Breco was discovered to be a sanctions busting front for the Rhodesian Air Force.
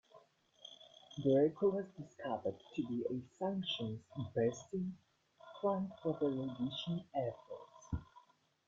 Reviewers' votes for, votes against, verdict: 0, 2, rejected